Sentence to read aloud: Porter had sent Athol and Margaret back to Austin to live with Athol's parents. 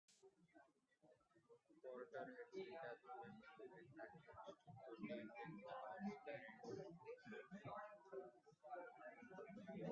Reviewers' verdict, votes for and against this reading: rejected, 0, 2